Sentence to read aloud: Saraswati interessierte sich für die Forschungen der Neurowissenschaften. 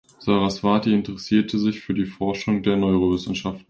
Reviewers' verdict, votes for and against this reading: rejected, 1, 2